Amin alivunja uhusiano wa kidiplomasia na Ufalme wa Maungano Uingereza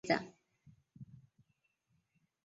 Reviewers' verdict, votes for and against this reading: rejected, 0, 2